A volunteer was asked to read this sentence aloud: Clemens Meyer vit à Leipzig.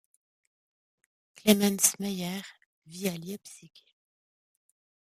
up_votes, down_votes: 0, 2